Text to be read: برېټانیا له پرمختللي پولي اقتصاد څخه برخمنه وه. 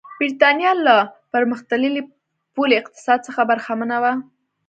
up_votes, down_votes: 2, 0